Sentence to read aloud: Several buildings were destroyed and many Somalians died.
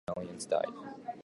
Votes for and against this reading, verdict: 0, 2, rejected